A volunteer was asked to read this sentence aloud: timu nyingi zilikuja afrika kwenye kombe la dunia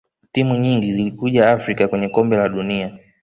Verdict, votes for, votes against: accepted, 2, 0